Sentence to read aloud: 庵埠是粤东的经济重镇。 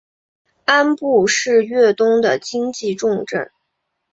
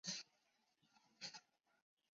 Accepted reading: first